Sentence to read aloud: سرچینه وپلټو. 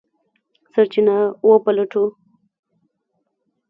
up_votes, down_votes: 3, 1